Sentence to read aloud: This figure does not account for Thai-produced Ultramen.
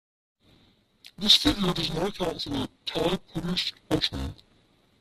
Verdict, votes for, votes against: rejected, 0, 2